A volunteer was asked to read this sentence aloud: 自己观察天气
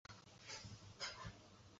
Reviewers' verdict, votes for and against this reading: rejected, 1, 2